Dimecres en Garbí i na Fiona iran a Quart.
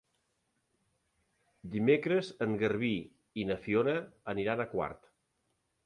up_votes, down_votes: 0, 2